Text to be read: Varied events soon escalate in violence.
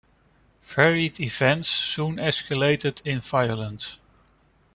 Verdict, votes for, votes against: rejected, 1, 2